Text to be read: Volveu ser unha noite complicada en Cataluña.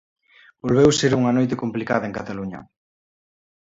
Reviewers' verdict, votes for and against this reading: accepted, 2, 0